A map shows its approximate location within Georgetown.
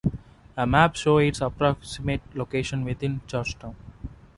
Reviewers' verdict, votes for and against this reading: rejected, 1, 2